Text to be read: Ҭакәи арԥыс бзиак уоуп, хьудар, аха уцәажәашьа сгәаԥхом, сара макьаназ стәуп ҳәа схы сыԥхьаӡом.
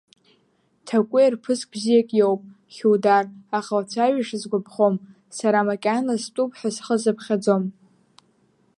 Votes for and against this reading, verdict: 1, 2, rejected